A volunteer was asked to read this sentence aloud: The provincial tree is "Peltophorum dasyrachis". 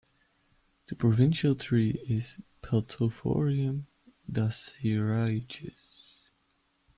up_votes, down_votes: 0, 2